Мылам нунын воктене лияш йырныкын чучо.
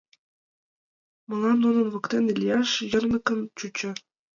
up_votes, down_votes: 2, 1